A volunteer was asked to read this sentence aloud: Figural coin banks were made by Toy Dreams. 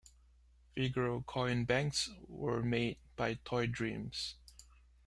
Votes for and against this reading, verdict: 2, 0, accepted